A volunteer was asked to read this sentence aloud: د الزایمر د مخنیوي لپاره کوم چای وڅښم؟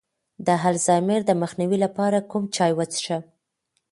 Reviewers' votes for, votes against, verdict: 2, 0, accepted